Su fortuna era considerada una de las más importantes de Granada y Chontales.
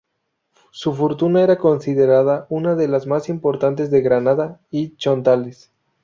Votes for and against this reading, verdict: 0, 2, rejected